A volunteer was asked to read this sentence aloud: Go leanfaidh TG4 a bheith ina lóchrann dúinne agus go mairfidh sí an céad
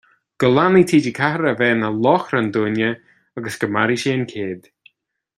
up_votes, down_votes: 0, 2